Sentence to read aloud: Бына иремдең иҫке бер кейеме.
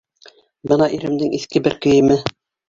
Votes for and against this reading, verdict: 1, 2, rejected